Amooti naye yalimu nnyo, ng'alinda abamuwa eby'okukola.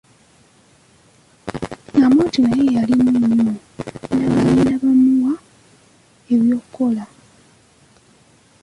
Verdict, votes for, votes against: rejected, 1, 2